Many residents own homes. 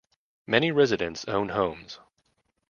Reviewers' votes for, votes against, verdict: 2, 0, accepted